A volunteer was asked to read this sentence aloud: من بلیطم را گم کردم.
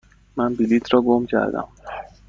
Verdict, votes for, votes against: rejected, 1, 2